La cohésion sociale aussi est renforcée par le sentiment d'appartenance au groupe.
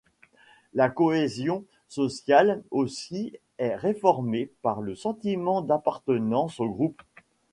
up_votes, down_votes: 1, 2